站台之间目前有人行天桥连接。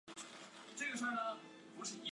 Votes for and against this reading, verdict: 0, 2, rejected